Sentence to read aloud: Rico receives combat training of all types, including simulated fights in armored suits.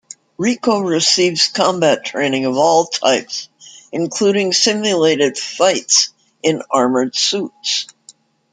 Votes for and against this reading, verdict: 2, 0, accepted